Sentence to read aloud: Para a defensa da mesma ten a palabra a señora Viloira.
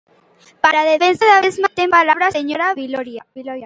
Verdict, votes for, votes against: rejected, 0, 2